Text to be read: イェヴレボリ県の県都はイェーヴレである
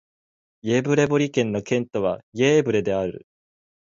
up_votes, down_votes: 5, 1